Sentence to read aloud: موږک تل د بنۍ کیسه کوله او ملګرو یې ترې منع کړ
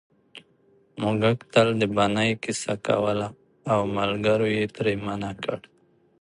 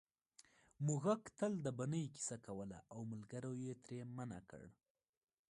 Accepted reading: first